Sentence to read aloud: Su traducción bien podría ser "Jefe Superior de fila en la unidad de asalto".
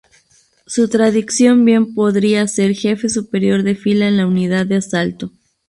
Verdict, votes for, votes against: rejected, 0, 2